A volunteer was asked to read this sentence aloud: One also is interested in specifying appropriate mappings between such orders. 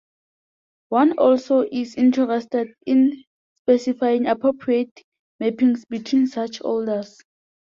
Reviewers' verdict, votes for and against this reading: accepted, 2, 0